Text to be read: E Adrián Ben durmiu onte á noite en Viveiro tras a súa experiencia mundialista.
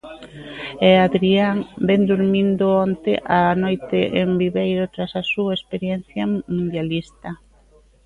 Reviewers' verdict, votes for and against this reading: rejected, 0, 2